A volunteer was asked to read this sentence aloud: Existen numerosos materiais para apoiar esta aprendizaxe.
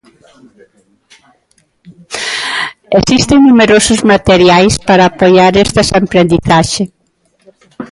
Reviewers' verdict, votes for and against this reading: rejected, 0, 2